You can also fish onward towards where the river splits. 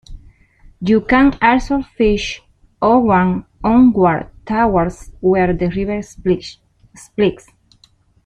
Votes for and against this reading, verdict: 1, 2, rejected